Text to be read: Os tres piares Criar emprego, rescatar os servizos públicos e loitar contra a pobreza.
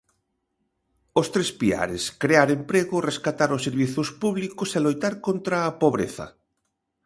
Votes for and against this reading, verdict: 0, 2, rejected